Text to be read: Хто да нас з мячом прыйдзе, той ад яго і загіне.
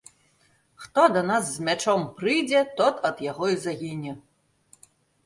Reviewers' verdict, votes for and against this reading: rejected, 1, 2